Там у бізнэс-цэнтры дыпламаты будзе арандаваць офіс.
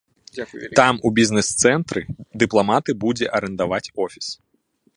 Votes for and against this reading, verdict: 0, 2, rejected